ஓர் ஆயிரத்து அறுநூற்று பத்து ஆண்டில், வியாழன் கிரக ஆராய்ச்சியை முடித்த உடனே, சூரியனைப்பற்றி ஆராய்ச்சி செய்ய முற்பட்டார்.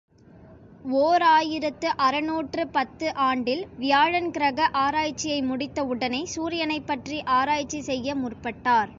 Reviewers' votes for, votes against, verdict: 3, 0, accepted